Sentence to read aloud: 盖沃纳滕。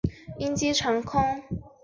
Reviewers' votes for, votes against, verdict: 0, 2, rejected